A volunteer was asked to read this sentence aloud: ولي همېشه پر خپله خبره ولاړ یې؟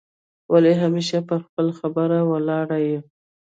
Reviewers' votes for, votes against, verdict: 1, 2, rejected